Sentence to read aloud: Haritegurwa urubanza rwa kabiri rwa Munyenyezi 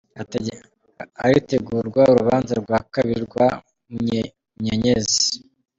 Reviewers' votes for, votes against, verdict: 1, 3, rejected